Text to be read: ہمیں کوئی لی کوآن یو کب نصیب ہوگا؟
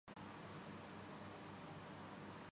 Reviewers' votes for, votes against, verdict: 0, 2, rejected